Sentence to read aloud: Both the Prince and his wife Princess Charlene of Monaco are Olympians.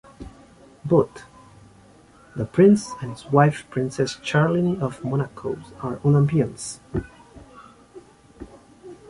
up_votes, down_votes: 2, 1